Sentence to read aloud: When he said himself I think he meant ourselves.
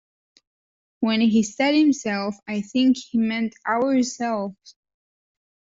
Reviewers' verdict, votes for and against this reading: rejected, 1, 2